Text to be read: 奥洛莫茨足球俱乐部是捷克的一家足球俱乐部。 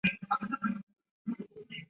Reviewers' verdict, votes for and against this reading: accepted, 3, 0